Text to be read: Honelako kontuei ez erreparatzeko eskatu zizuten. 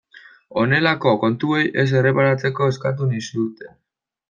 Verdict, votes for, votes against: rejected, 0, 2